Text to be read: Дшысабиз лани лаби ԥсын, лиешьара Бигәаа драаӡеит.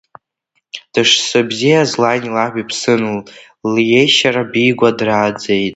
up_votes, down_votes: 1, 2